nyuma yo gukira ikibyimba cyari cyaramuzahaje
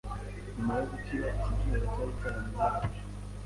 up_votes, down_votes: 1, 2